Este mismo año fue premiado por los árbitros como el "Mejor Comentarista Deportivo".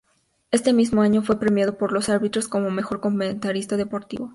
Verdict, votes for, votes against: accepted, 2, 0